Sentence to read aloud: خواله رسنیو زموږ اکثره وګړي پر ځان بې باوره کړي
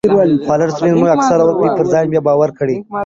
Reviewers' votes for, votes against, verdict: 1, 2, rejected